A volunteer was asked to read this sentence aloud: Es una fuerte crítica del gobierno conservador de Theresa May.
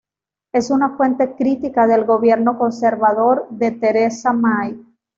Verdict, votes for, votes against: rejected, 1, 2